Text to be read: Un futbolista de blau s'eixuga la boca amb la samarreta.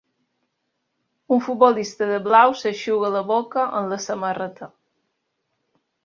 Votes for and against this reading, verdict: 3, 0, accepted